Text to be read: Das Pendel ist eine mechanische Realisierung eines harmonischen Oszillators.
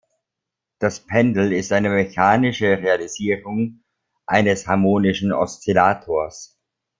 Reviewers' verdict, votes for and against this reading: accepted, 2, 1